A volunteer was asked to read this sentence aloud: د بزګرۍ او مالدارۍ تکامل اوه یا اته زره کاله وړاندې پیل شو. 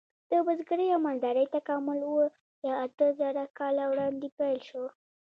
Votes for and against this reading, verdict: 1, 2, rejected